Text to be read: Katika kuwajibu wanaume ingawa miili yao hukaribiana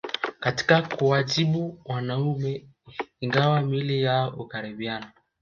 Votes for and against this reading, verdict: 1, 2, rejected